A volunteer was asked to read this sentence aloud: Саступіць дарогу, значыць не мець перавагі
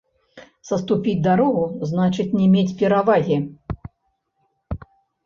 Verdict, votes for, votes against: rejected, 0, 2